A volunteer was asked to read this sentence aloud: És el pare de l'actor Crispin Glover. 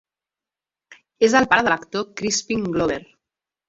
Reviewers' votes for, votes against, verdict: 0, 2, rejected